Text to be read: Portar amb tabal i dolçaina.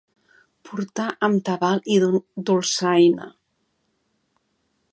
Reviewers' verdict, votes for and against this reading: rejected, 0, 3